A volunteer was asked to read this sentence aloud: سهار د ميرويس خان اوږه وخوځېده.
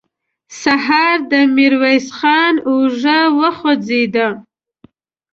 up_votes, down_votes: 2, 0